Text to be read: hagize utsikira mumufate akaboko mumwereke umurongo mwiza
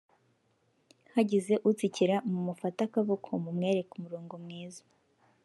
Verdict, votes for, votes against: rejected, 0, 2